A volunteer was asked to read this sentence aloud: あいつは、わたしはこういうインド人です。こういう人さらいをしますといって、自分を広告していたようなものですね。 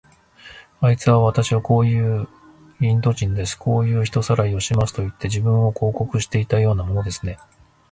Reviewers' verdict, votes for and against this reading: rejected, 0, 2